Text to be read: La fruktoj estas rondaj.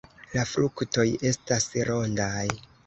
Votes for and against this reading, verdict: 2, 0, accepted